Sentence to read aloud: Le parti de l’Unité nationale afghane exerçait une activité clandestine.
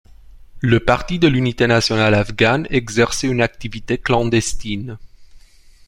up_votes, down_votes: 2, 0